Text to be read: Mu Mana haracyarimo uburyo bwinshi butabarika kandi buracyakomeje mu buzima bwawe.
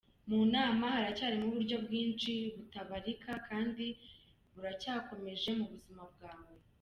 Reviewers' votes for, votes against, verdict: 0, 2, rejected